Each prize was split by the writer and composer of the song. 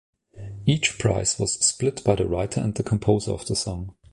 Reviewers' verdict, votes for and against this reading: rejected, 0, 2